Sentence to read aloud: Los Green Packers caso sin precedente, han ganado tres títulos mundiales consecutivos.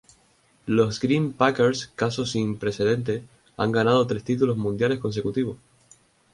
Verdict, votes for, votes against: rejected, 2, 2